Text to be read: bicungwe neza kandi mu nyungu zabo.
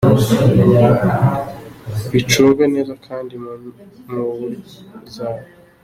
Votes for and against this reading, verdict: 1, 2, rejected